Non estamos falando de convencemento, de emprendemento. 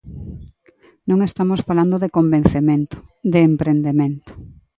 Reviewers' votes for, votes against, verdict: 2, 0, accepted